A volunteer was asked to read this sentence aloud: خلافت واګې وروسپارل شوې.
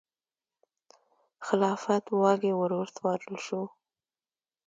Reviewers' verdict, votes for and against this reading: rejected, 0, 2